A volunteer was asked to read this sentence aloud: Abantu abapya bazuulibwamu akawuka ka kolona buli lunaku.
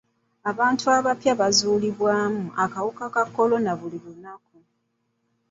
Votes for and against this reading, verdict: 2, 0, accepted